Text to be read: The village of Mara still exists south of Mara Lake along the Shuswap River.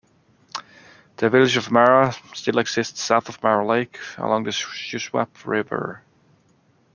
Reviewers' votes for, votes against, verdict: 2, 1, accepted